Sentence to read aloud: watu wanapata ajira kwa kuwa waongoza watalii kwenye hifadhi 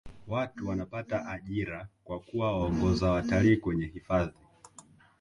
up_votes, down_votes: 1, 2